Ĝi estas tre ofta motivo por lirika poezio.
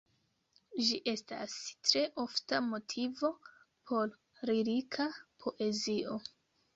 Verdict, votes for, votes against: rejected, 1, 2